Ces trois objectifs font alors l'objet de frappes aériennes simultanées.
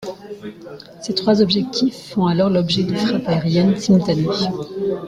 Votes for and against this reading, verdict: 0, 2, rejected